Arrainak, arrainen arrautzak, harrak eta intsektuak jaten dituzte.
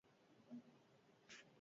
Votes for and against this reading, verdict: 0, 4, rejected